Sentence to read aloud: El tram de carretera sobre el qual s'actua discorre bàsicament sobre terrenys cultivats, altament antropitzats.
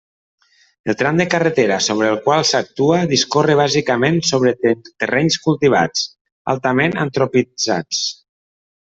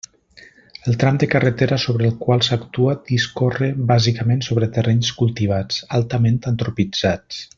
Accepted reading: second